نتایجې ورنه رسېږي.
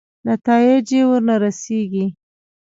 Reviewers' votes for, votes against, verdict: 2, 1, accepted